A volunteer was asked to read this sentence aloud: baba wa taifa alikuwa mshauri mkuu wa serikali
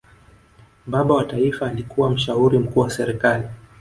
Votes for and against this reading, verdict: 1, 2, rejected